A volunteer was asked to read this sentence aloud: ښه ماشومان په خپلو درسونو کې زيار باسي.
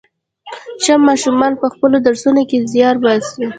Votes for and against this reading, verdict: 1, 2, rejected